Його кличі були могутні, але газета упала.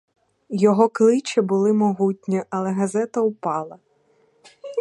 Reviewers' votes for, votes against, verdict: 2, 0, accepted